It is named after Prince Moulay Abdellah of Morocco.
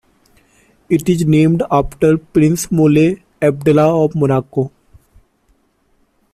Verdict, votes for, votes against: accepted, 2, 0